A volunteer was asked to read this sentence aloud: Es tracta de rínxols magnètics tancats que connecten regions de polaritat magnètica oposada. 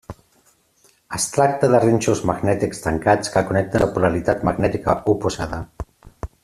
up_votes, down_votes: 0, 2